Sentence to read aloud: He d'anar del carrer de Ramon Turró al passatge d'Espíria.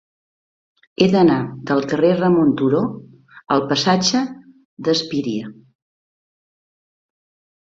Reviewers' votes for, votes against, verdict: 0, 2, rejected